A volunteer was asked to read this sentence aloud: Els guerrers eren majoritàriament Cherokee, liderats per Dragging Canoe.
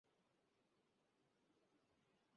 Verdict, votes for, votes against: rejected, 0, 2